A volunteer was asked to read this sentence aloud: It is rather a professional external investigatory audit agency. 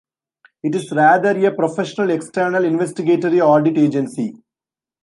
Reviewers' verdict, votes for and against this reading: accepted, 2, 0